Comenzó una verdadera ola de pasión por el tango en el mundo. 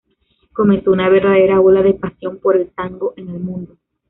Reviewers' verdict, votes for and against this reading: rejected, 0, 2